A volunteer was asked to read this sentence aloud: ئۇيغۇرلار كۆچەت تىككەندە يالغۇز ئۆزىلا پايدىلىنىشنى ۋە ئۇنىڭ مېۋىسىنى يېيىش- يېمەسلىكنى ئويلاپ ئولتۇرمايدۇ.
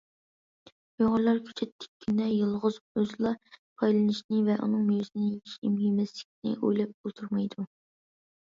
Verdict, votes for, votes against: rejected, 1, 2